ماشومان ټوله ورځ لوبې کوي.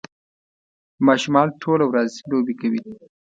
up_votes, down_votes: 3, 0